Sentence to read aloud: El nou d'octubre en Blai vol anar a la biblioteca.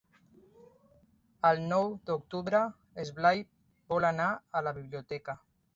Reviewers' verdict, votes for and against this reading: rejected, 0, 2